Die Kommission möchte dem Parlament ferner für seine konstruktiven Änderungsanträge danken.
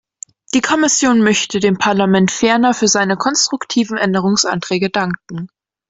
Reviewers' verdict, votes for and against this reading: accepted, 2, 0